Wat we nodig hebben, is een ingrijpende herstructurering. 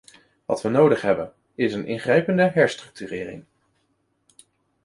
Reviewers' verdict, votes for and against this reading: accepted, 2, 0